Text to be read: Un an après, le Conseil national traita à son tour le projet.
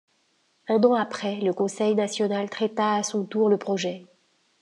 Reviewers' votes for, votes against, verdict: 2, 0, accepted